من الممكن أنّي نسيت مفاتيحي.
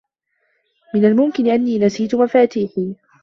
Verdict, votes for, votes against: accepted, 2, 0